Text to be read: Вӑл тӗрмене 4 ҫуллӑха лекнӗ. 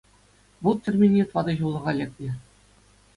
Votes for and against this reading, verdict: 0, 2, rejected